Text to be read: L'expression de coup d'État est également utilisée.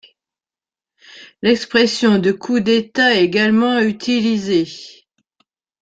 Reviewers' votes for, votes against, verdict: 0, 2, rejected